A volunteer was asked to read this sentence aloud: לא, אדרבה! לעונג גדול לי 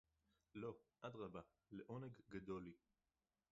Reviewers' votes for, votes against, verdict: 0, 2, rejected